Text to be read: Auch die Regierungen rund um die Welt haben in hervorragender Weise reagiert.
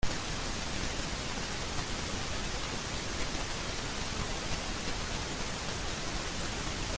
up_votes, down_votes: 0, 2